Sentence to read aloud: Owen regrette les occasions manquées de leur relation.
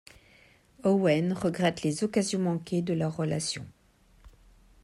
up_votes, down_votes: 2, 0